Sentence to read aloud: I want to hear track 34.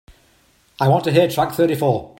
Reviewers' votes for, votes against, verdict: 0, 2, rejected